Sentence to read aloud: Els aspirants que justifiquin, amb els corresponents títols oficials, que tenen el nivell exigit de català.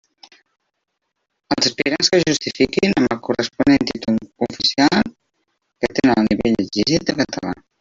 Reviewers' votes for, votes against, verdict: 0, 2, rejected